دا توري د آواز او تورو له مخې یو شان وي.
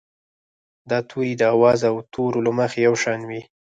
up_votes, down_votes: 2, 4